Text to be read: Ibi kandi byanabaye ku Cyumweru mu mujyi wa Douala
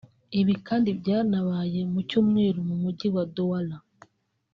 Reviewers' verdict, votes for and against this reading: rejected, 1, 2